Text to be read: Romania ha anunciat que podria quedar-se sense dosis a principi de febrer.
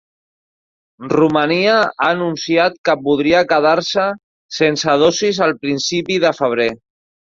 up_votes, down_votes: 0, 2